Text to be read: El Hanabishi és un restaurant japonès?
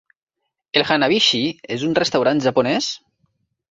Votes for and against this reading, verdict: 3, 0, accepted